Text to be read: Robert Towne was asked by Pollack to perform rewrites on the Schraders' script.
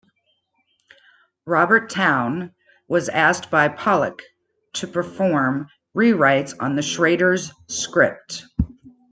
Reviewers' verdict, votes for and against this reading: accepted, 2, 0